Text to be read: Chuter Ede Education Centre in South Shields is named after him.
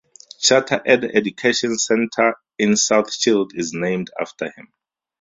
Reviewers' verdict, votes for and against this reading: rejected, 2, 2